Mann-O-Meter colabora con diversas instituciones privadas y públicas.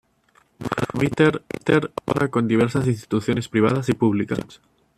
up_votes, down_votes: 1, 2